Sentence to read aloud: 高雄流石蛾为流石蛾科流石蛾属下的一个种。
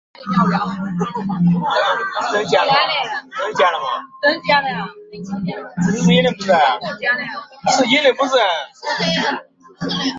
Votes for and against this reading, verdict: 0, 2, rejected